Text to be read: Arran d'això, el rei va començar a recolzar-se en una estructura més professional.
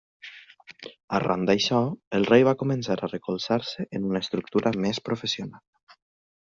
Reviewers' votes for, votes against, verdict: 2, 0, accepted